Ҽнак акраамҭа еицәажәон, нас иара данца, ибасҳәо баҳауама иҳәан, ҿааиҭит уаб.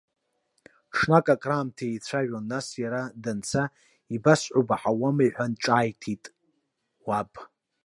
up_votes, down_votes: 2, 0